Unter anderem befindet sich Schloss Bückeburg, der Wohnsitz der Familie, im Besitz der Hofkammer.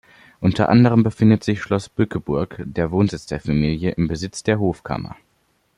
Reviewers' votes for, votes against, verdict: 2, 0, accepted